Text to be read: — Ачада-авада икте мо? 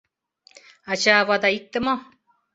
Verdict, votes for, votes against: rejected, 0, 2